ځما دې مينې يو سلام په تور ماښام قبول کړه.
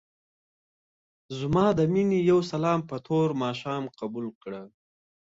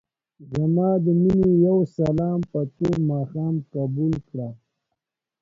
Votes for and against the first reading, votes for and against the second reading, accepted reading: 2, 0, 0, 2, first